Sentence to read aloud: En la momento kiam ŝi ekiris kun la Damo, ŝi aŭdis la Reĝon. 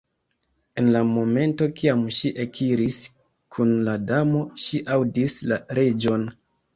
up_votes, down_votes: 1, 2